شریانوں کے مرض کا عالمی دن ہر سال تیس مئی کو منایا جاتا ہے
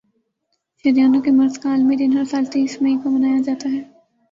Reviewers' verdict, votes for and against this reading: rejected, 0, 2